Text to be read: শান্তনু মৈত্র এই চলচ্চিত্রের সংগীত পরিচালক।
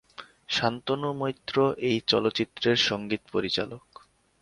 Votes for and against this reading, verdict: 55, 4, accepted